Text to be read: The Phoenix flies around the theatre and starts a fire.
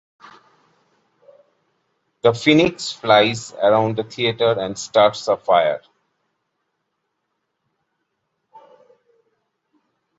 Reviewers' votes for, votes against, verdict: 2, 0, accepted